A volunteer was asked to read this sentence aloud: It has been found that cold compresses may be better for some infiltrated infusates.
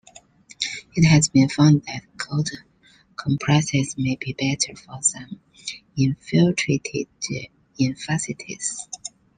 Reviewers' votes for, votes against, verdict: 0, 3, rejected